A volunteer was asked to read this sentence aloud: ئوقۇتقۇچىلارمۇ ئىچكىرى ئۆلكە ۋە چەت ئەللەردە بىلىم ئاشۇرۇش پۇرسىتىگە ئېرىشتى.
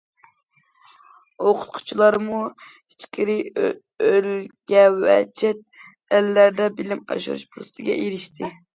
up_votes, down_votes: 0, 2